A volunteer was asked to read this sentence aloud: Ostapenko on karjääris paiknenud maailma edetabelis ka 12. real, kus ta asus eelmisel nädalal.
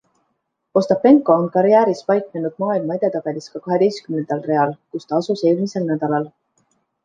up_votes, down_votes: 0, 2